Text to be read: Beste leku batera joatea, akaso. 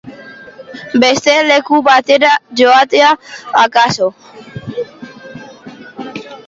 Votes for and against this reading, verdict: 2, 0, accepted